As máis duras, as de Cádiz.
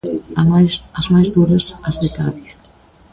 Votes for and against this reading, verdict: 0, 2, rejected